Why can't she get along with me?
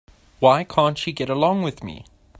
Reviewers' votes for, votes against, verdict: 2, 0, accepted